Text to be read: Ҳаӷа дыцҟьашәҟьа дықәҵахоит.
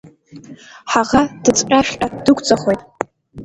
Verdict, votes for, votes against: accepted, 2, 0